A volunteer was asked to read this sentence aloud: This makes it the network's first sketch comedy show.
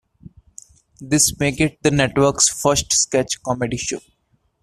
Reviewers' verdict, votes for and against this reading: rejected, 0, 2